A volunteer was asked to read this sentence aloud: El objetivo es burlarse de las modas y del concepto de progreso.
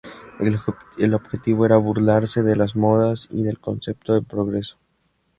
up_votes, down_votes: 2, 2